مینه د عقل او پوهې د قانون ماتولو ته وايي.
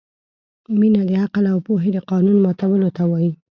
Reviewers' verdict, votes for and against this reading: accepted, 2, 0